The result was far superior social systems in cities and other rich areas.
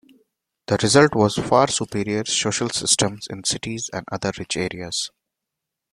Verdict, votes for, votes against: accepted, 2, 0